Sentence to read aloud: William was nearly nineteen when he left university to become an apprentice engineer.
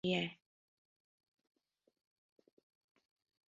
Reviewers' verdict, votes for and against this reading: rejected, 0, 4